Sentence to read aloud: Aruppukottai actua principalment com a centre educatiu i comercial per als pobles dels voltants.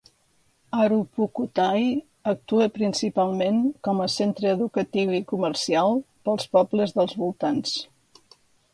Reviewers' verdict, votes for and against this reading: rejected, 0, 2